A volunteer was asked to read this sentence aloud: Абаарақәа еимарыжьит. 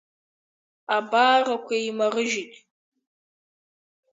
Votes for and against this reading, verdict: 2, 3, rejected